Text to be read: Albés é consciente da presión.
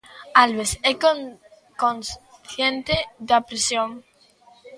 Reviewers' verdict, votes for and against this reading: rejected, 0, 2